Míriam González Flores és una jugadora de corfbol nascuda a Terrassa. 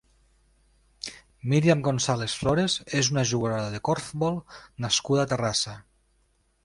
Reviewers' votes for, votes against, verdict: 2, 0, accepted